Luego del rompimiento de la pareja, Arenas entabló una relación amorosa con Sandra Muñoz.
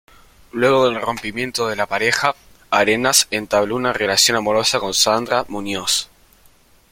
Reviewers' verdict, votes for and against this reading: accepted, 2, 0